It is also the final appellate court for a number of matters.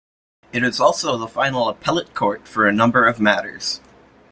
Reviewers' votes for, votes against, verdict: 2, 0, accepted